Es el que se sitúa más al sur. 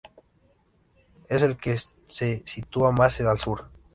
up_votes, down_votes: 0, 2